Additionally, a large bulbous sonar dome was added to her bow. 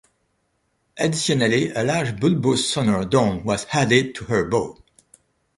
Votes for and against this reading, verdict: 0, 2, rejected